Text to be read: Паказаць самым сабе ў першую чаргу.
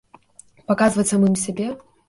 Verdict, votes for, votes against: rejected, 0, 2